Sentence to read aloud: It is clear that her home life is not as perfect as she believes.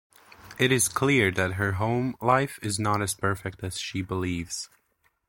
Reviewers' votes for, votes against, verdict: 2, 0, accepted